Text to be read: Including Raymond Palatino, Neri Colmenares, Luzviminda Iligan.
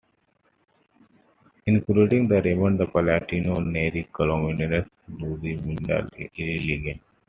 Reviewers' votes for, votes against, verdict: 2, 1, accepted